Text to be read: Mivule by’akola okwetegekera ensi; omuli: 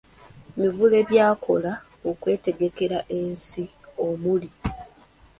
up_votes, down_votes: 2, 1